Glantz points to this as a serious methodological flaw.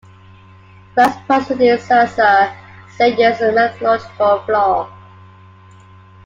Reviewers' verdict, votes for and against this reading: rejected, 1, 2